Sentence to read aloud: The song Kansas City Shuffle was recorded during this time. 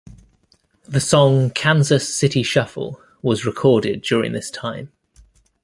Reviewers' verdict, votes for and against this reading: accepted, 2, 0